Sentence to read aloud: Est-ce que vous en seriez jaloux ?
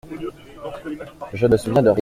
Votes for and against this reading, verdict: 0, 2, rejected